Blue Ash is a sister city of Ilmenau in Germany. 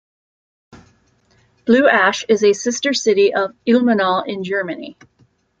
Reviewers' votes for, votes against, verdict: 1, 2, rejected